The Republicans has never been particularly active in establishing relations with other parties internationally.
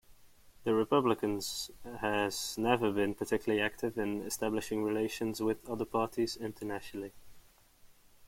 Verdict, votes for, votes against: accepted, 2, 0